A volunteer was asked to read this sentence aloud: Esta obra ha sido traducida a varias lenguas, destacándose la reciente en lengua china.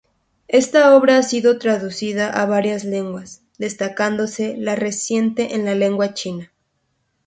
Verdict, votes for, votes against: accepted, 2, 0